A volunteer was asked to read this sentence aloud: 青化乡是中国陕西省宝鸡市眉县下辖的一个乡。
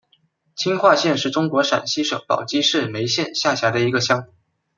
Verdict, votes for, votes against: rejected, 0, 2